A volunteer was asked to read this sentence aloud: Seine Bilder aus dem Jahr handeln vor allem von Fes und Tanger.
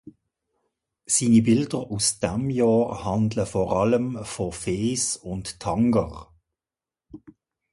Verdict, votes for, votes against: rejected, 1, 2